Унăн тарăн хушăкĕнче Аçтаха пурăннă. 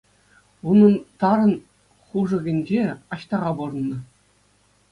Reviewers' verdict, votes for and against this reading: accepted, 2, 0